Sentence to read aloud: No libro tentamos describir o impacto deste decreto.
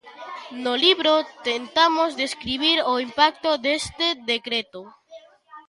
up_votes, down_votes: 1, 2